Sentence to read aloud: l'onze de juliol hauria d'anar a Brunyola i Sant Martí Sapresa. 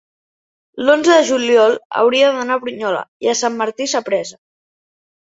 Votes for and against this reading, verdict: 1, 2, rejected